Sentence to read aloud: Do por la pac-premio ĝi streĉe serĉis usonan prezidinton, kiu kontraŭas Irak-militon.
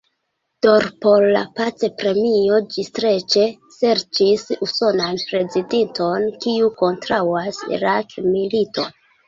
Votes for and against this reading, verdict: 1, 2, rejected